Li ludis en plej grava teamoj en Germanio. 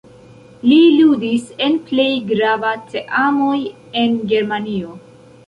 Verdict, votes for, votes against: rejected, 0, 2